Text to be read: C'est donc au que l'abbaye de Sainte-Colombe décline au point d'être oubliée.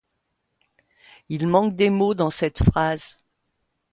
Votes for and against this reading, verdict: 1, 2, rejected